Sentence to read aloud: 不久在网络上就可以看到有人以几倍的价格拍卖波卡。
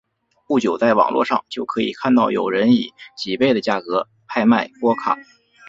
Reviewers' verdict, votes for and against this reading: accepted, 3, 0